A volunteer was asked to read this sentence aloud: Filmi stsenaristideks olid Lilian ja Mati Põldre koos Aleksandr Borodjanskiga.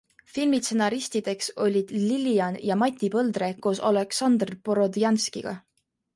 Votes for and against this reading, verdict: 2, 0, accepted